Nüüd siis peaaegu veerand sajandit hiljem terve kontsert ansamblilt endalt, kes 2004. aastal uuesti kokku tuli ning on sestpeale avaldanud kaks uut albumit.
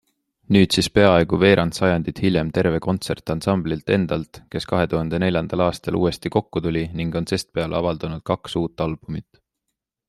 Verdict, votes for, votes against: rejected, 0, 2